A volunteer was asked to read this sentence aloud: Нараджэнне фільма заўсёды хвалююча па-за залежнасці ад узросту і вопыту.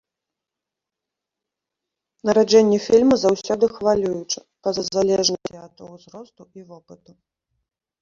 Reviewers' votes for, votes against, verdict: 0, 2, rejected